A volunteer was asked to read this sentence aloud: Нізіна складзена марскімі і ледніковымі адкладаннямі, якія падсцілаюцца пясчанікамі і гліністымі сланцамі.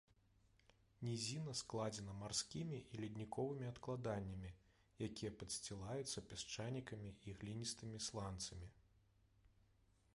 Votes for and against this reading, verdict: 1, 2, rejected